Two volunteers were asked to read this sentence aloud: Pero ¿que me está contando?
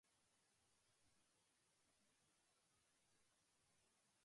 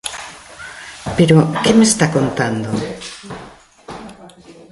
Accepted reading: second